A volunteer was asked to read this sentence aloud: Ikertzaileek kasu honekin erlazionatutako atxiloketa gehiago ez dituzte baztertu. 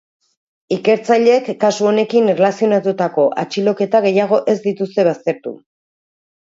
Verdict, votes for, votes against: accepted, 3, 0